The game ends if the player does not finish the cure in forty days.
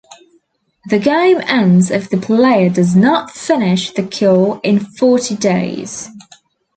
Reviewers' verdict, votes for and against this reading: accepted, 2, 0